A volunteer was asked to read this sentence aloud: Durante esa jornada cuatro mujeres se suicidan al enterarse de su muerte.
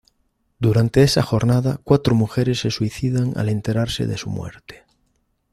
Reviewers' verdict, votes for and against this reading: accepted, 2, 0